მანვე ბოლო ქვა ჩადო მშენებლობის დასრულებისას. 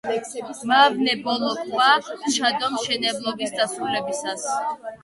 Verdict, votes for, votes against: rejected, 0, 3